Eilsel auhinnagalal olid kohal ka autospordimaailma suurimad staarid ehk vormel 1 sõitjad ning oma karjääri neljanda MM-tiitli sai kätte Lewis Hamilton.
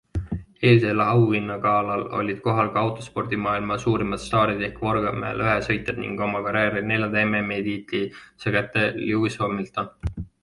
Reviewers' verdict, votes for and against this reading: rejected, 0, 2